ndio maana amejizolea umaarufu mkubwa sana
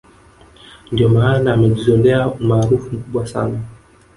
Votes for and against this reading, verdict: 0, 2, rejected